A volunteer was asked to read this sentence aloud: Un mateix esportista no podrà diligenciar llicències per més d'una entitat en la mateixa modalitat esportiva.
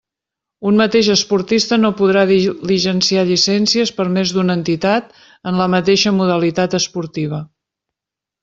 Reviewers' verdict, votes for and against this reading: rejected, 0, 2